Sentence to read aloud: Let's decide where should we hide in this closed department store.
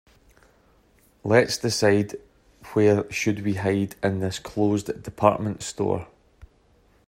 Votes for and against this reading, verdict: 2, 0, accepted